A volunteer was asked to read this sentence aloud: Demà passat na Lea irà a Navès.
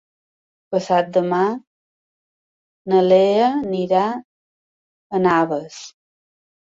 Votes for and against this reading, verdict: 2, 1, accepted